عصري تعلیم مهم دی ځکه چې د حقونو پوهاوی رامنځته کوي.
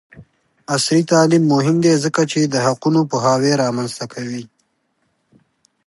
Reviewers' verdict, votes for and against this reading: accepted, 2, 0